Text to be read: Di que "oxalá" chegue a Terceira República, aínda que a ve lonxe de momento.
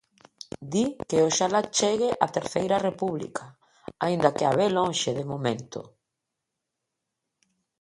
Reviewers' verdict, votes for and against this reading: accepted, 3, 0